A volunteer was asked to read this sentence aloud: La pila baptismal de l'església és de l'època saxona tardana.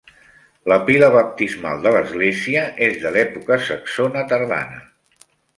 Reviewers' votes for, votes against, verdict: 2, 1, accepted